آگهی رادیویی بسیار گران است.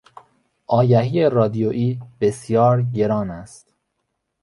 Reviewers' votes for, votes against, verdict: 2, 0, accepted